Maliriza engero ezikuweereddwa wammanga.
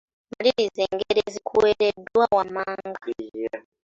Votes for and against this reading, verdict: 2, 0, accepted